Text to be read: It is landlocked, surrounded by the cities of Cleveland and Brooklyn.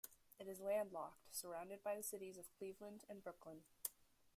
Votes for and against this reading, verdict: 1, 2, rejected